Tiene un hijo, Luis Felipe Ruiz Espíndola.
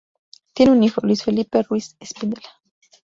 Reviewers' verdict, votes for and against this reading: rejected, 0, 2